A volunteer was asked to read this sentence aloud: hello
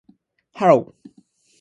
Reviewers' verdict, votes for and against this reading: rejected, 2, 2